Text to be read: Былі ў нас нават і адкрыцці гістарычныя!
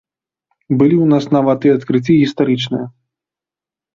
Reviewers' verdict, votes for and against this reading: rejected, 0, 2